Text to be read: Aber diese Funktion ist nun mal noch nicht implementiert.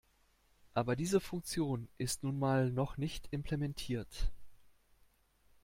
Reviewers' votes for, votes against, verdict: 2, 1, accepted